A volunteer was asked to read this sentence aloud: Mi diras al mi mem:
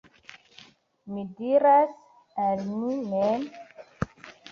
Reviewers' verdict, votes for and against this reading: rejected, 0, 2